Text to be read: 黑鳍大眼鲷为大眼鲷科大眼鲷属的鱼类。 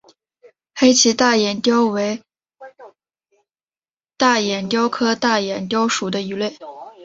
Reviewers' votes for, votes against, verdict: 1, 2, rejected